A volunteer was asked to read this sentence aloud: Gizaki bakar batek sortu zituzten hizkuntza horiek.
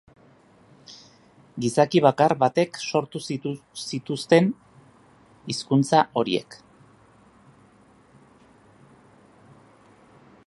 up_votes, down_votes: 0, 3